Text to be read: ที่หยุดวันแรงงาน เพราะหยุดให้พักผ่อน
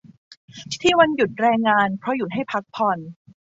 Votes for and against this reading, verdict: 1, 2, rejected